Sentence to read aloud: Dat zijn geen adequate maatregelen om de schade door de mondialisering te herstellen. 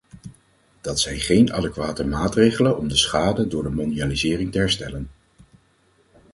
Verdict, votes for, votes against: accepted, 4, 0